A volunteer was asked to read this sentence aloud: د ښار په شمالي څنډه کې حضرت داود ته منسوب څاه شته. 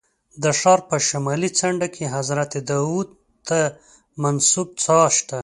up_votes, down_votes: 2, 0